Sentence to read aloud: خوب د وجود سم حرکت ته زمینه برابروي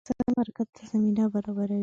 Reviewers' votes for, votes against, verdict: 1, 2, rejected